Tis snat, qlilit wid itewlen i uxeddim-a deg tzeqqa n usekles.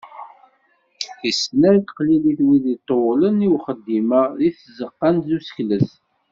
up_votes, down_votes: 0, 2